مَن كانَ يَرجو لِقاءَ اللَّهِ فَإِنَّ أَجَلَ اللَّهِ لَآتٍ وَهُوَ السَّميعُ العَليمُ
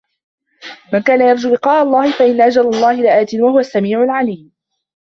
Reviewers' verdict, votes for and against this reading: rejected, 0, 2